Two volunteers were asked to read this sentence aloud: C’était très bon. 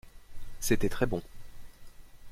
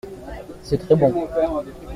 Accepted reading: first